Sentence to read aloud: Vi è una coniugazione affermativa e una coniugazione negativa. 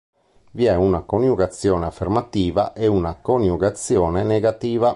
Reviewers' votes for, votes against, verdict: 3, 0, accepted